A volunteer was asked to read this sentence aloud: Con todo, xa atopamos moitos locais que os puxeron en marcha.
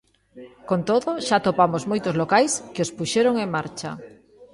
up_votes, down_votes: 3, 0